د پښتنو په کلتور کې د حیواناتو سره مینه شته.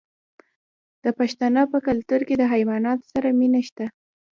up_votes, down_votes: 1, 2